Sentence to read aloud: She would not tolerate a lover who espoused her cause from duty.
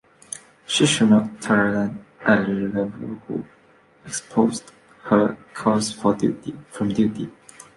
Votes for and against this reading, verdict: 0, 3, rejected